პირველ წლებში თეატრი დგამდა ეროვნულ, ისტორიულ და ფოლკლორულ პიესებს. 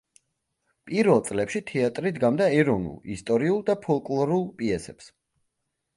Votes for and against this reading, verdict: 3, 0, accepted